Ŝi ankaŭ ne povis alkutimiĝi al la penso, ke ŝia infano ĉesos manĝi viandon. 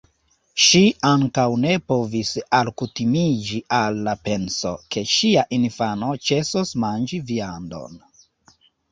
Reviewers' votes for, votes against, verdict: 2, 0, accepted